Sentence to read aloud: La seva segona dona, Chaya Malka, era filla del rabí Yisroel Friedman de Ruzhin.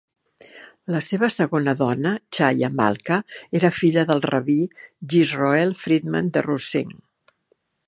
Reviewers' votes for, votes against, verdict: 2, 0, accepted